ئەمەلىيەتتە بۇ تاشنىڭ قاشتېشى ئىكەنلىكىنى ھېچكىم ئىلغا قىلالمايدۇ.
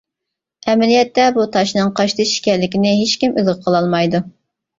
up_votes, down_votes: 2, 0